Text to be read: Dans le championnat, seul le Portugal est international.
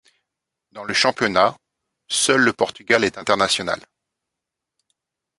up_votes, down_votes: 2, 0